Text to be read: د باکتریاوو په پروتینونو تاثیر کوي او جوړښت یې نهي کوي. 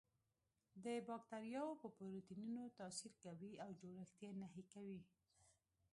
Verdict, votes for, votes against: rejected, 1, 2